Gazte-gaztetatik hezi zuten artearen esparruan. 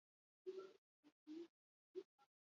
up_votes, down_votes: 0, 4